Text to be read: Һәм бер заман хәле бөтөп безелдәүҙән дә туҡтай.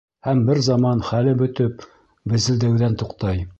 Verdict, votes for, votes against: rejected, 1, 2